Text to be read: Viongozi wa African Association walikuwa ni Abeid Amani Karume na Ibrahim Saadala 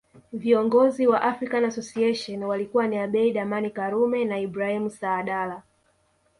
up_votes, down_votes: 2, 0